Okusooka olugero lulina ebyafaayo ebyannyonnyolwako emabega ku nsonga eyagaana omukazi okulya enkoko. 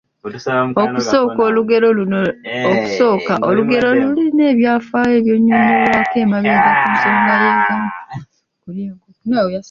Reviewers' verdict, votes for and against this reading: rejected, 0, 2